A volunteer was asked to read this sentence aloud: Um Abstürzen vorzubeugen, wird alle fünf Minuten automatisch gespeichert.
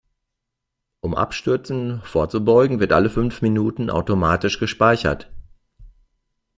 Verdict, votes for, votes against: accepted, 2, 0